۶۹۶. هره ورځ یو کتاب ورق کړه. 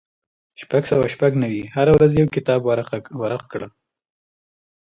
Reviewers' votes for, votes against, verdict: 0, 2, rejected